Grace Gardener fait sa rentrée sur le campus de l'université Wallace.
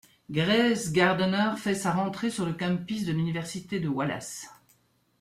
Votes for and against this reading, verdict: 1, 2, rejected